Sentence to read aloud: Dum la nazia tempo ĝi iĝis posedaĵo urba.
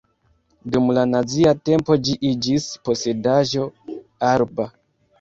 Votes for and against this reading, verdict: 1, 2, rejected